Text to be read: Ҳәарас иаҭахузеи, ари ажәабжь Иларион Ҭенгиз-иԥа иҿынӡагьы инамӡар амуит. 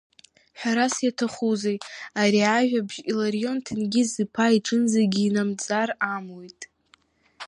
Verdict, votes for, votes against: rejected, 0, 2